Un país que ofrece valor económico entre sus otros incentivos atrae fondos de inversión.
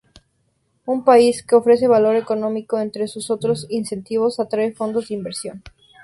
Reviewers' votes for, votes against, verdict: 0, 2, rejected